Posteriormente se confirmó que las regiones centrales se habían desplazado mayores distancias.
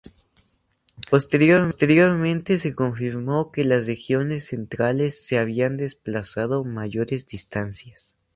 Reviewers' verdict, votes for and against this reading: accepted, 2, 0